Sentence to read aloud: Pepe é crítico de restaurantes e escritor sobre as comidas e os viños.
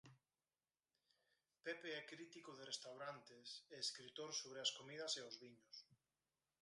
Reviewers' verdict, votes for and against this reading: rejected, 2, 4